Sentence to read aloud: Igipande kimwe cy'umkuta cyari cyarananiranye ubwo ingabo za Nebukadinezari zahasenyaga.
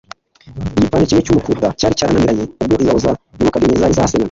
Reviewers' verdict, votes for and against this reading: rejected, 1, 2